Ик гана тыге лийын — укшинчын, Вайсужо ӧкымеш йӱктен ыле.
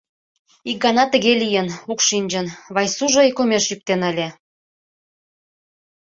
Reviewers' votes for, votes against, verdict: 2, 0, accepted